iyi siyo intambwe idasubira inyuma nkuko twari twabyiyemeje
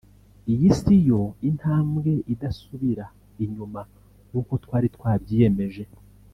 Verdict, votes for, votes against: accepted, 2, 0